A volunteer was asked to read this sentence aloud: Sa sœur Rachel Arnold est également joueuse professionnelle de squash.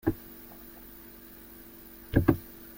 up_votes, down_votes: 0, 2